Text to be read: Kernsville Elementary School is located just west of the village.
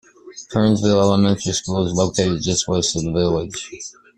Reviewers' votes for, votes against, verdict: 2, 1, accepted